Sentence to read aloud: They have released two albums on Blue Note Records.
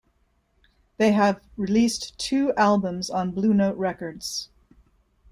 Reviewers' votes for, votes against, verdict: 1, 2, rejected